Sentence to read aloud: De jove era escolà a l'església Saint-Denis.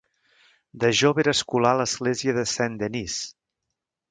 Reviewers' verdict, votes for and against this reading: rejected, 1, 2